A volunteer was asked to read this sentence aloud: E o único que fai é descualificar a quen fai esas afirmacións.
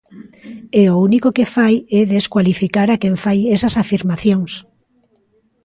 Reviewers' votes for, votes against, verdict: 2, 1, accepted